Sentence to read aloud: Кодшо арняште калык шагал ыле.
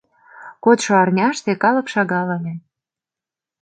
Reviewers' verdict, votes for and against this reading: accepted, 2, 0